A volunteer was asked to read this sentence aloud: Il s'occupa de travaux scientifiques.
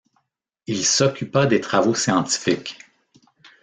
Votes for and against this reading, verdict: 1, 2, rejected